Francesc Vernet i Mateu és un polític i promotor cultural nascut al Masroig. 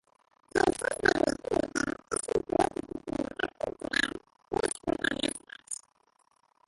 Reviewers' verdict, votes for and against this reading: rejected, 0, 2